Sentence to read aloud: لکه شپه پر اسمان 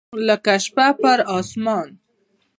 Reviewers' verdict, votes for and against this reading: rejected, 1, 2